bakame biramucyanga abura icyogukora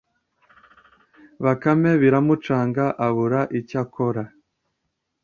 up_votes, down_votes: 0, 2